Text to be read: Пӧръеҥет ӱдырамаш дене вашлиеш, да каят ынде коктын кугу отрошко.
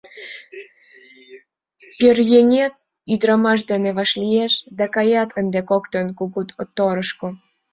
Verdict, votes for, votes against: rejected, 1, 2